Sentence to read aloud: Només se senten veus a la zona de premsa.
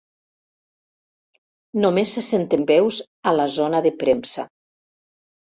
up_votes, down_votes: 2, 0